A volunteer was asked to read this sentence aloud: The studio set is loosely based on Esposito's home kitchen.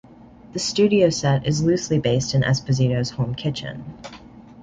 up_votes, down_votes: 2, 0